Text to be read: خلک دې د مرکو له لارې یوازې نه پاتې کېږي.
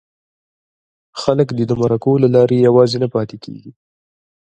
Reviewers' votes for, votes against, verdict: 0, 2, rejected